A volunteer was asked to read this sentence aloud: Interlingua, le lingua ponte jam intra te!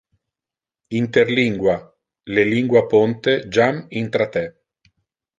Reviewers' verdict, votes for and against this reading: accepted, 2, 0